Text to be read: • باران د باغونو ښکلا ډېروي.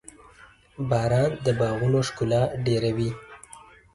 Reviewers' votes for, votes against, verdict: 1, 2, rejected